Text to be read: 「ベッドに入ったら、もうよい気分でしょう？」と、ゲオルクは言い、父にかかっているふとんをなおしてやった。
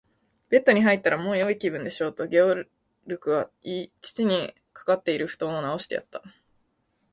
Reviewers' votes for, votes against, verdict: 1, 4, rejected